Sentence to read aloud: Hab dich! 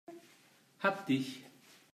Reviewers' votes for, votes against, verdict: 2, 1, accepted